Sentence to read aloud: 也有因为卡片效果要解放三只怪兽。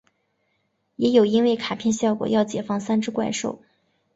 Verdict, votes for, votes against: accepted, 2, 0